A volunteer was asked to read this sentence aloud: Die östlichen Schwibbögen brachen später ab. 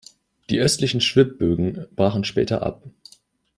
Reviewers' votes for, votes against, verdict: 2, 0, accepted